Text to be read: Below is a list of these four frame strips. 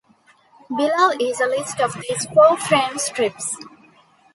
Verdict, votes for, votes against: accepted, 2, 0